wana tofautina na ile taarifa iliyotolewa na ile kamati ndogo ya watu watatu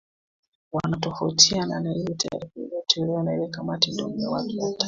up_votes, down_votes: 1, 2